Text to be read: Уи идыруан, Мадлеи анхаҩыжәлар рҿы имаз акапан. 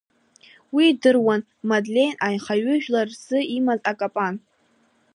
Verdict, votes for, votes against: accepted, 3, 1